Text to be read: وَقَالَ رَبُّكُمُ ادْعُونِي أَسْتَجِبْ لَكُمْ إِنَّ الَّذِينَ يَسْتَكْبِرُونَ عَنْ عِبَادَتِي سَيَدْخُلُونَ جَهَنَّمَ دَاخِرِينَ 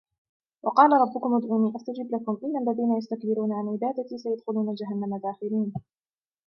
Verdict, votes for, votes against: rejected, 1, 2